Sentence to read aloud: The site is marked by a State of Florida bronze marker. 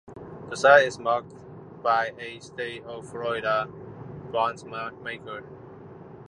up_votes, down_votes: 0, 2